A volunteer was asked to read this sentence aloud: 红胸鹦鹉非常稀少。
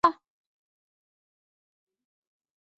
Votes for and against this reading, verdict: 1, 4, rejected